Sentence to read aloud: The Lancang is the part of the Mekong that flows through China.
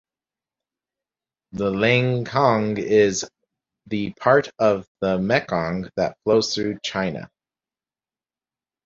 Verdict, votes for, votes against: rejected, 0, 4